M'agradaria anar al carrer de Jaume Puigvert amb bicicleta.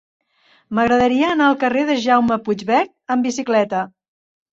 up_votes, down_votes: 2, 0